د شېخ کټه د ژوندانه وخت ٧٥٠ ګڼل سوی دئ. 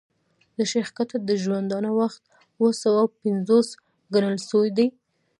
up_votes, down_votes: 0, 2